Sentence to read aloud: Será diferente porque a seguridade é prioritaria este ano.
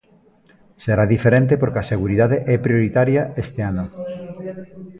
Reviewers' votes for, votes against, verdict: 0, 2, rejected